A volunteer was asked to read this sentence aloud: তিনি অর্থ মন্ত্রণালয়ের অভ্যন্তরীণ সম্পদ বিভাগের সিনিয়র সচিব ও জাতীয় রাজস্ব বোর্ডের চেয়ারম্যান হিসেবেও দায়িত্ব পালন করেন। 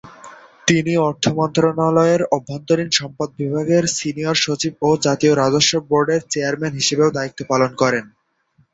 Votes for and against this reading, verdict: 7, 0, accepted